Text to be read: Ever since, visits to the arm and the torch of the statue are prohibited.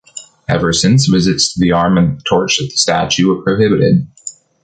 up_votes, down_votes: 1, 2